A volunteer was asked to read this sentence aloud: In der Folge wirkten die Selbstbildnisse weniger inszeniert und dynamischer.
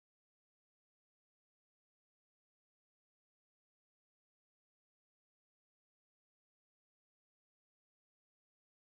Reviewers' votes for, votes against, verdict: 0, 2, rejected